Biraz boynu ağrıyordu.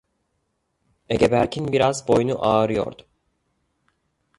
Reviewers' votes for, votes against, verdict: 0, 2, rejected